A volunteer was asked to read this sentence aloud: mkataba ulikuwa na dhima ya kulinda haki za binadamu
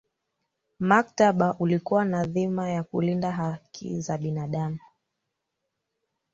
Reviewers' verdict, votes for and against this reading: rejected, 0, 3